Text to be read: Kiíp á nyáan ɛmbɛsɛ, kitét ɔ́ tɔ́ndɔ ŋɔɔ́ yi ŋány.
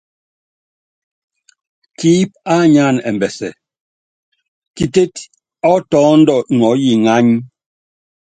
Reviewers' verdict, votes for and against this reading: accepted, 3, 0